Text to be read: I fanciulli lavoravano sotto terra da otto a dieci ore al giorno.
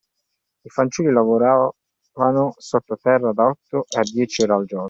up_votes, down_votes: 0, 2